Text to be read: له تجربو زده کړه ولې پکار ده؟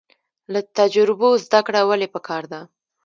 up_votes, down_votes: 1, 2